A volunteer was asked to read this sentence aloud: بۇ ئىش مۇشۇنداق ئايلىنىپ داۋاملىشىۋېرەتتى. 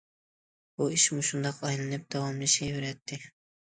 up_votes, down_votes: 2, 0